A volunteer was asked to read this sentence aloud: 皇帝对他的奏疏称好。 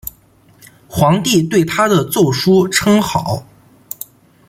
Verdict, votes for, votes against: accepted, 2, 0